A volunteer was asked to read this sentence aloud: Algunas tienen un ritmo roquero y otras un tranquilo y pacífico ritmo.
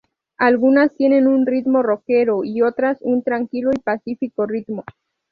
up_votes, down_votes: 2, 0